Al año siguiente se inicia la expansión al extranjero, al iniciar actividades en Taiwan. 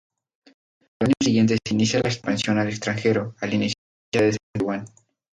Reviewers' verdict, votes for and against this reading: rejected, 0, 2